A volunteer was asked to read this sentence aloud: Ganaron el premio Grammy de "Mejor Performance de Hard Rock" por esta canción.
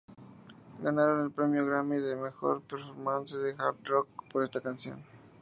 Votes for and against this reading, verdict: 0, 2, rejected